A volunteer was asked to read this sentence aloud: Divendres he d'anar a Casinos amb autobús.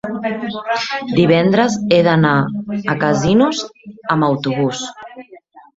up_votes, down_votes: 0, 2